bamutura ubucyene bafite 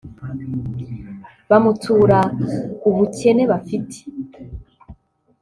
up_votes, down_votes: 1, 2